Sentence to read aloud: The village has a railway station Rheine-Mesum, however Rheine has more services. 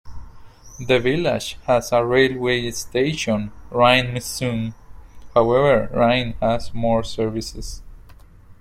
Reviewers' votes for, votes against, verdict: 2, 0, accepted